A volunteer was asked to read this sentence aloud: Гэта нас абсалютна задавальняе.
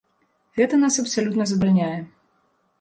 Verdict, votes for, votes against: rejected, 1, 2